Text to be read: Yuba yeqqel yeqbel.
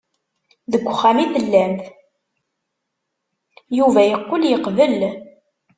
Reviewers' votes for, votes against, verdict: 1, 2, rejected